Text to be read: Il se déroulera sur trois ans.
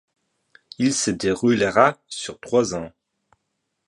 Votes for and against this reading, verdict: 2, 0, accepted